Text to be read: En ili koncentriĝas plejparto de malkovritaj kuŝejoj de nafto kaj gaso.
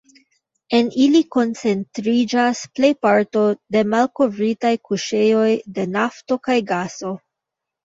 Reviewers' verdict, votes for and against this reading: rejected, 1, 2